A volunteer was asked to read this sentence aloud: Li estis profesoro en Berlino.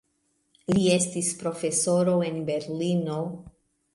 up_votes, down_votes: 2, 0